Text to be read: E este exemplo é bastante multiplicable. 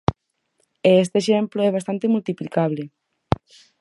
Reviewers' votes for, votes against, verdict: 4, 0, accepted